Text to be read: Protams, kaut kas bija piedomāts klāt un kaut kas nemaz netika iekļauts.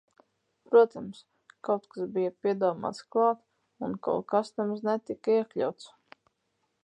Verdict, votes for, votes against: accepted, 4, 2